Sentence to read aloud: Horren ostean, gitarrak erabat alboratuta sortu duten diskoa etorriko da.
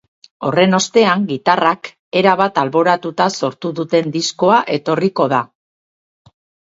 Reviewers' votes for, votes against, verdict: 4, 0, accepted